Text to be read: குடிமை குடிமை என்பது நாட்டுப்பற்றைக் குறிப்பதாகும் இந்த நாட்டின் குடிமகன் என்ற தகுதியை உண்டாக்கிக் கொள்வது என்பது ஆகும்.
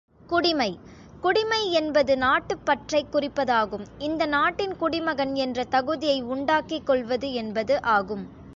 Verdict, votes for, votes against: accepted, 2, 0